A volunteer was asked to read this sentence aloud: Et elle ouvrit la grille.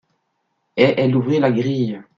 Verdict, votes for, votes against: accepted, 2, 0